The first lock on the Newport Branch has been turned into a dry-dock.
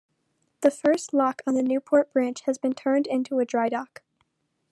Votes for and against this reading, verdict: 2, 0, accepted